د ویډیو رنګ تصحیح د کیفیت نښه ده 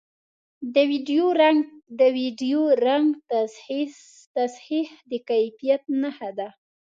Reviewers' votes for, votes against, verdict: 2, 1, accepted